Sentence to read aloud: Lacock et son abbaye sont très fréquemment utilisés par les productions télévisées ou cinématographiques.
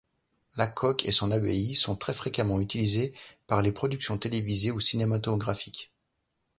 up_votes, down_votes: 2, 0